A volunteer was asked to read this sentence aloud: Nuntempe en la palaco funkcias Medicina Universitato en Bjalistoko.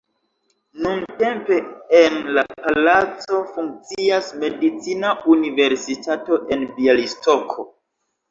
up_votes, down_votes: 2, 1